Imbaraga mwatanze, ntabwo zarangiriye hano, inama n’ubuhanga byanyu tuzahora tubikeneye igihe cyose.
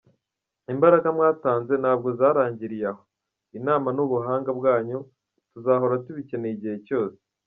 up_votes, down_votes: 0, 2